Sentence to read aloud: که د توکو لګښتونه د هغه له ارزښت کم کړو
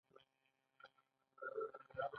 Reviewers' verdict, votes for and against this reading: accepted, 2, 1